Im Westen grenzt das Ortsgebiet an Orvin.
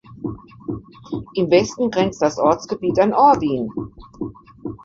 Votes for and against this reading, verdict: 1, 2, rejected